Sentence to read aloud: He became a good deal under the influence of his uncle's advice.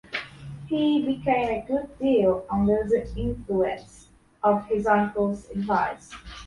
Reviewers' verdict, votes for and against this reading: accepted, 2, 0